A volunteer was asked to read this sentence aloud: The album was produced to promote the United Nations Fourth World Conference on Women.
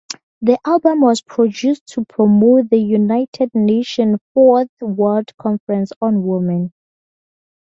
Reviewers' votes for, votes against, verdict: 4, 0, accepted